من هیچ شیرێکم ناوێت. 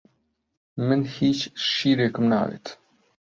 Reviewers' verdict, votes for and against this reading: accepted, 2, 0